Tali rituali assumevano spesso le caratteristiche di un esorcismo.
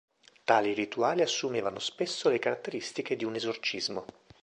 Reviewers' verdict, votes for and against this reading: accepted, 3, 1